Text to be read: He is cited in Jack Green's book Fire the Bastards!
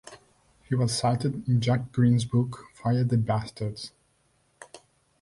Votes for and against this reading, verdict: 1, 2, rejected